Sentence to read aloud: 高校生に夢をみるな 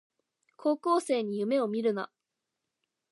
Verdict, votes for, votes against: accepted, 2, 0